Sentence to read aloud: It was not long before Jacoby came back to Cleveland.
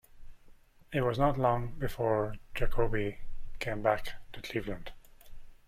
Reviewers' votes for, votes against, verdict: 0, 2, rejected